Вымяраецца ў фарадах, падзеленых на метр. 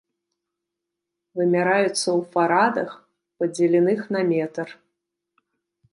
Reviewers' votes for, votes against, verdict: 1, 2, rejected